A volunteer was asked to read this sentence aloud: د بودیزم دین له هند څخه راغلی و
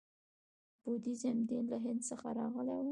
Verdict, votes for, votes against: rejected, 1, 2